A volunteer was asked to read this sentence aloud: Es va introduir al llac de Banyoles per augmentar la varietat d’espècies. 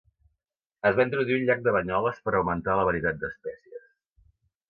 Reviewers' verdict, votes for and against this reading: accepted, 2, 0